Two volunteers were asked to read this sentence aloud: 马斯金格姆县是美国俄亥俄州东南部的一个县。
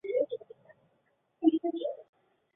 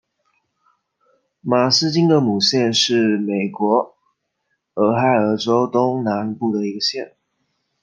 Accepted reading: second